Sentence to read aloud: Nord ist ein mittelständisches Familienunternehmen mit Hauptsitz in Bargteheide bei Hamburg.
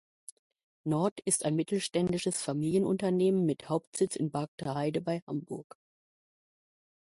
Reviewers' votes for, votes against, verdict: 2, 0, accepted